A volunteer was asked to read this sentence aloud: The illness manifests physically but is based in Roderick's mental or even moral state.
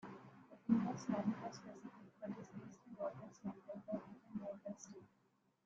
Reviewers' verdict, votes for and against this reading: rejected, 0, 2